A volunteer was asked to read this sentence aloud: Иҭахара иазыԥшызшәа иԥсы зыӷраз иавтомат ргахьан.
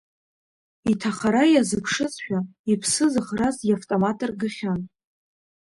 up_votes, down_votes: 2, 1